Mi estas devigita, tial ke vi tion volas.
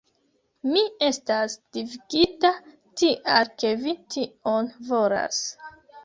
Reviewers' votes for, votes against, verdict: 1, 2, rejected